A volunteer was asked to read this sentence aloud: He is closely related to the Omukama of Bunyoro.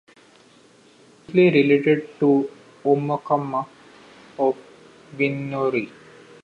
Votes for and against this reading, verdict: 0, 2, rejected